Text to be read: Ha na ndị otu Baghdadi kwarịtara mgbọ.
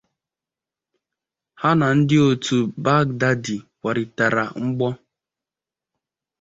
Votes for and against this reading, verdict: 2, 0, accepted